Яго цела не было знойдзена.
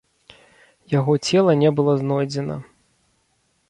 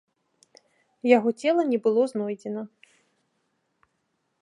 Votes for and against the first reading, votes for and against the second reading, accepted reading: 0, 2, 2, 0, second